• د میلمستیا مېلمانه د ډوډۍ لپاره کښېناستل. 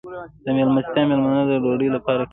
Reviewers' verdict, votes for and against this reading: rejected, 0, 2